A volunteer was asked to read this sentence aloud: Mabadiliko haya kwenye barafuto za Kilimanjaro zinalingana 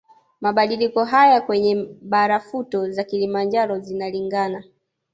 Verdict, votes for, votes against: rejected, 1, 2